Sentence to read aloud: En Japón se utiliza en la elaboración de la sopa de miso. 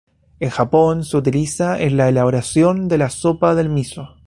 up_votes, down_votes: 0, 2